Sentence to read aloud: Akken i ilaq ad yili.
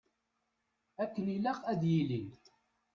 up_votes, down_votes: 1, 2